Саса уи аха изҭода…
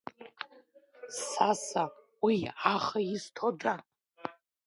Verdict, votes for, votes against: rejected, 1, 2